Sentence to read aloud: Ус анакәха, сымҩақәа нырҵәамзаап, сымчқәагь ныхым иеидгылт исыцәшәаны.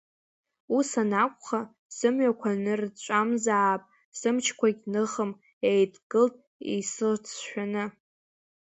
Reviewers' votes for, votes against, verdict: 0, 2, rejected